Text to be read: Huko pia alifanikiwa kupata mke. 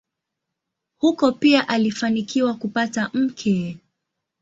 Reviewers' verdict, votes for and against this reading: accepted, 2, 1